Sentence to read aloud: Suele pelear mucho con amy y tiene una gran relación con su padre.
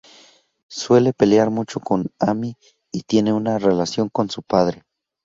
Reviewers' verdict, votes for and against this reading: rejected, 0, 2